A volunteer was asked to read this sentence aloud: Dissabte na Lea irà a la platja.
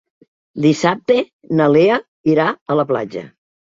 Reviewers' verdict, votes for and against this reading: accepted, 3, 0